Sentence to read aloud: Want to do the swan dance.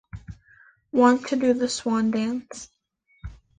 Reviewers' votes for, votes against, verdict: 2, 0, accepted